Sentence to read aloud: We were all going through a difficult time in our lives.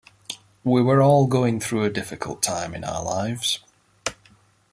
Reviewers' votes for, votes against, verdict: 2, 1, accepted